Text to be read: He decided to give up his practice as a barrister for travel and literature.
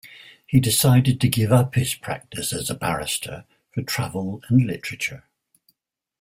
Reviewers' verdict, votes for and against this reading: accepted, 2, 0